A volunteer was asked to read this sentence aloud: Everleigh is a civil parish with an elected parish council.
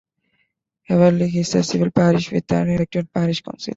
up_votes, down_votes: 2, 0